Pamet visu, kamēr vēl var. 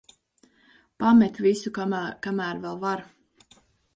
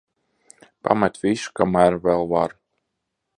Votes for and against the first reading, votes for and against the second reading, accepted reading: 0, 3, 3, 1, second